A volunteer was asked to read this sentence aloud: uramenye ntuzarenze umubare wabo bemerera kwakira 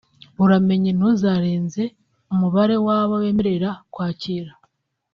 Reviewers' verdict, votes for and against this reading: accepted, 2, 0